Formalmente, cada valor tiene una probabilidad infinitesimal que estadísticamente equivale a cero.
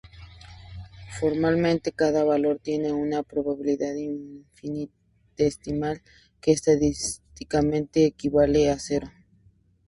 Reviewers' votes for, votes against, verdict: 0, 2, rejected